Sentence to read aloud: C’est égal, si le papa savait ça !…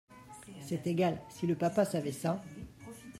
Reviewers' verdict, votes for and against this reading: accepted, 2, 1